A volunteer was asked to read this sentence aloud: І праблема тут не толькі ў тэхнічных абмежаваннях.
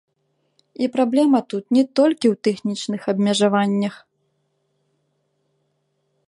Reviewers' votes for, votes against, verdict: 2, 1, accepted